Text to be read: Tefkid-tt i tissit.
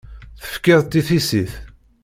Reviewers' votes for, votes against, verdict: 2, 0, accepted